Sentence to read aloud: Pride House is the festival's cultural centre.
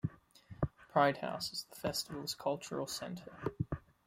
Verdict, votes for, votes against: accepted, 2, 0